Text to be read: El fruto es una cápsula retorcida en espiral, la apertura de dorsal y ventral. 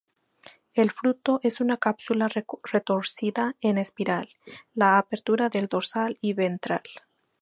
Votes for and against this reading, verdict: 0, 2, rejected